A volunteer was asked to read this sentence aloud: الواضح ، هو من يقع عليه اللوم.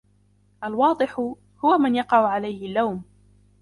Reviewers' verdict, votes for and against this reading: rejected, 1, 2